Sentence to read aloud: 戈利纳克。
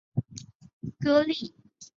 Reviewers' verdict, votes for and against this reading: rejected, 0, 3